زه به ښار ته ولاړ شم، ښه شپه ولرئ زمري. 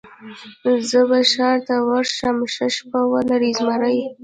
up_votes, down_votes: 0, 2